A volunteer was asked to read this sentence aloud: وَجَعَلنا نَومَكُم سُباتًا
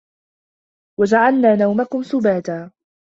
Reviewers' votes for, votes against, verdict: 2, 0, accepted